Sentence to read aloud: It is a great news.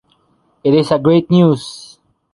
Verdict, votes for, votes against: accepted, 2, 0